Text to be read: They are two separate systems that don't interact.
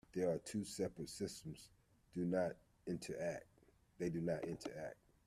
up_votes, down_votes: 0, 2